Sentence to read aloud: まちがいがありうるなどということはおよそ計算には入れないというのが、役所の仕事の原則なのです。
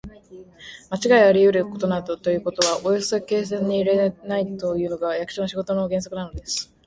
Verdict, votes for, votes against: rejected, 1, 2